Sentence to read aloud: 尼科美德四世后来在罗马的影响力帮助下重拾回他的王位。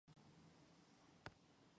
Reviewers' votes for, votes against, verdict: 1, 3, rejected